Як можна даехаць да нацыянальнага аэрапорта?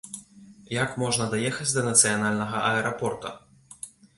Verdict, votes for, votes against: accepted, 2, 0